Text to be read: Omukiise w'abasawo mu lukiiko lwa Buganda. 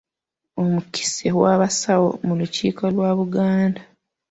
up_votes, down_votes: 2, 0